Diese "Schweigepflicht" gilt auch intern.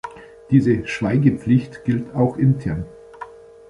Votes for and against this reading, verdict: 2, 0, accepted